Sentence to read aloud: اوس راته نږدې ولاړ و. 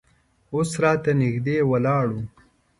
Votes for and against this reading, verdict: 2, 0, accepted